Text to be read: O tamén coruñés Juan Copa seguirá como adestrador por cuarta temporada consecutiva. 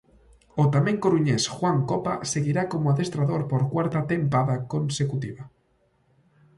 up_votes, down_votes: 0, 2